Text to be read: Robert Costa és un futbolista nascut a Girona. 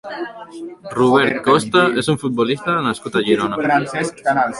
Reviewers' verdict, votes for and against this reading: rejected, 0, 2